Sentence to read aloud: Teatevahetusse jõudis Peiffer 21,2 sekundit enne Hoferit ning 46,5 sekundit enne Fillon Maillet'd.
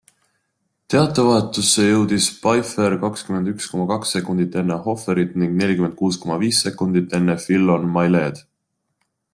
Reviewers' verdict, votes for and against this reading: rejected, 0, 2